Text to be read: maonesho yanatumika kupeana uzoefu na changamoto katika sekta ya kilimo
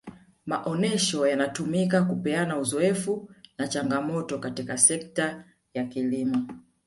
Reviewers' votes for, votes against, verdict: 1, 2, rejected